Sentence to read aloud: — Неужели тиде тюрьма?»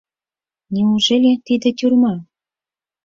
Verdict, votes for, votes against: accepted, 4, 0